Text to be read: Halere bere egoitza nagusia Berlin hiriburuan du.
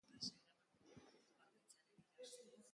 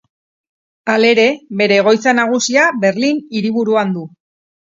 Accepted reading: second